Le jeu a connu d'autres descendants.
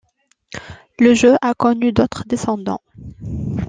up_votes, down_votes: 2, 0